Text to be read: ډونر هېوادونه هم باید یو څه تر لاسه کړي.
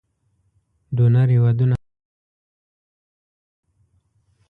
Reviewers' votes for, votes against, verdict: 1, 2, rejected